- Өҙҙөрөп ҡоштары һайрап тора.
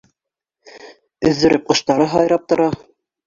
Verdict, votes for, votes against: rejected, 1, 2